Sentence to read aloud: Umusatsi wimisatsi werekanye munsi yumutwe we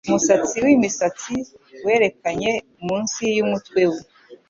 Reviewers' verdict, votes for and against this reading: accepted, 2, 0